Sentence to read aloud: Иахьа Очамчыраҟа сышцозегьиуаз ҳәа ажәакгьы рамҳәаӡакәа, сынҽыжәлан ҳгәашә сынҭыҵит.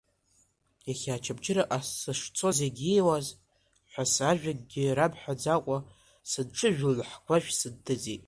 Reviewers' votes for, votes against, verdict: 0, 2, rejected